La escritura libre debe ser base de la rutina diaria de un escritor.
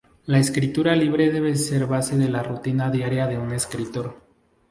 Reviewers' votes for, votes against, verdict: 2, 2, rejected